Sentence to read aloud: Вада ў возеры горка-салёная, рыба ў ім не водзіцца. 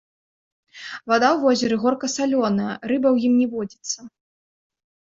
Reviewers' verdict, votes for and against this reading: accepted, 2, 1